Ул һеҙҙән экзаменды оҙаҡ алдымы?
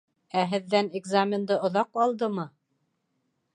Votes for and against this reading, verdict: 2, 3, rejected